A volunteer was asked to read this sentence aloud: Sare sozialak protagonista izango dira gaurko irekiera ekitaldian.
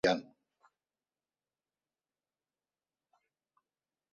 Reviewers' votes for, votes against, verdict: 0, 2, rejected